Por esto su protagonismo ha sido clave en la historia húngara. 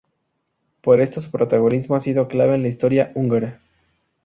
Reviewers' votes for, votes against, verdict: 2, 0, accepted